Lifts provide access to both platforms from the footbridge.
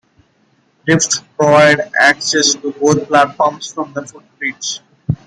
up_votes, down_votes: 2, 1